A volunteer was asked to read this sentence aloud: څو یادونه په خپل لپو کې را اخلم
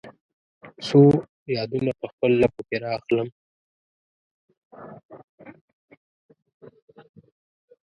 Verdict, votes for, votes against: accepted, 2, 0